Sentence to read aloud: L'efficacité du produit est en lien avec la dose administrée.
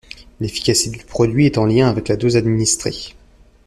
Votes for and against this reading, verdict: 1, 2, rejected